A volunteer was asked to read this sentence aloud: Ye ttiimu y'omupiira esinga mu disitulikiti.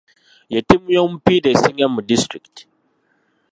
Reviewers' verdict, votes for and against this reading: accepted, 2, 1